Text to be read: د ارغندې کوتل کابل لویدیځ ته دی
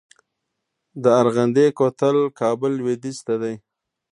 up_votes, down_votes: 2, 1